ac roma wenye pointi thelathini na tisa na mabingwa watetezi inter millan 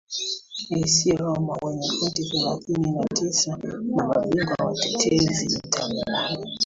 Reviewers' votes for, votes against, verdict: 0, 2, rejected